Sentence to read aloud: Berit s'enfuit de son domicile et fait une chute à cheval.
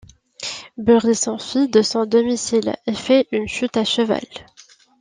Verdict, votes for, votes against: accepted, 2, 0